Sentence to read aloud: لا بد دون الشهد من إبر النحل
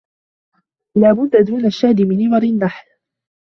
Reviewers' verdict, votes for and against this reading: accepted, 2, 1